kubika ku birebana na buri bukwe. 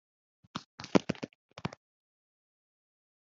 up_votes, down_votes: 3, 2